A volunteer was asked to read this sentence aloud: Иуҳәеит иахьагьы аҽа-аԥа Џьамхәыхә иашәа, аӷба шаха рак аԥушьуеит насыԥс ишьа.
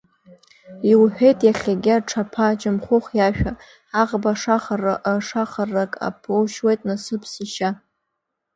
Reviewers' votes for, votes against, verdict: 0, 2, rejected